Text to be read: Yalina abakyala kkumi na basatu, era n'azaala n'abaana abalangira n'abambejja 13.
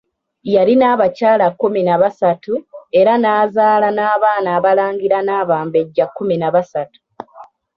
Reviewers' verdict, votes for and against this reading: rejected, 0, 2